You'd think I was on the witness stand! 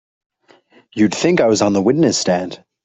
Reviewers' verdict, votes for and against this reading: accepted, 3, 0